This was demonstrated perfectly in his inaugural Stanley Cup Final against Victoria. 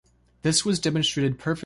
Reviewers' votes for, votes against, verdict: 0, 2, rejected